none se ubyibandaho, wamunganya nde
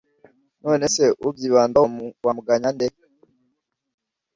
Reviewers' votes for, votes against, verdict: 1, 2, rejected